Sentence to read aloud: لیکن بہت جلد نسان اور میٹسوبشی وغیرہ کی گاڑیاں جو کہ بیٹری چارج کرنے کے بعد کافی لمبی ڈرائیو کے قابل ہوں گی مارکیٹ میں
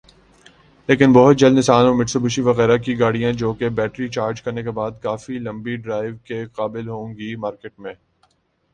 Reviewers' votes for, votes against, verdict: 4, 0, accepted